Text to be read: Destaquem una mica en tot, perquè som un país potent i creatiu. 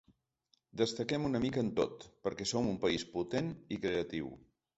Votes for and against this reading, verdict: 4, 0, accepted